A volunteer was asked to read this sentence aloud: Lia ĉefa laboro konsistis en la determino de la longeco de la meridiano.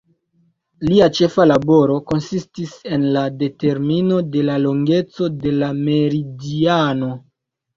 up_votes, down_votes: 1, 2